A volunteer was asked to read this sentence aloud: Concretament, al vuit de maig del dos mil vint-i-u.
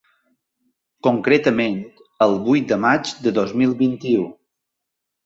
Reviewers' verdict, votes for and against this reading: rejected, 1, 2